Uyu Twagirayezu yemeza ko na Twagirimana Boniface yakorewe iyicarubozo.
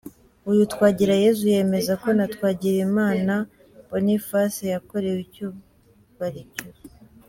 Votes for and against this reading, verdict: 0, 2, rejected